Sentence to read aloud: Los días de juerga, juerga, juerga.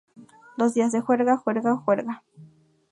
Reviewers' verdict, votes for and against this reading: accepted, 2, 0